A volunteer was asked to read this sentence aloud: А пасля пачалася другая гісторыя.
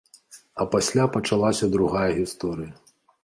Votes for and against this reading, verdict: 2, 0, accepted